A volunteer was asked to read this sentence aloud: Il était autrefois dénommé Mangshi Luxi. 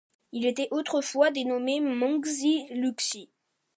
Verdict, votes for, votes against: accepted, 2, 0